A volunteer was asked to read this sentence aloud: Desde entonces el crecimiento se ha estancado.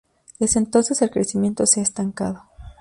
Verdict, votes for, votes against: accepted, 2, 0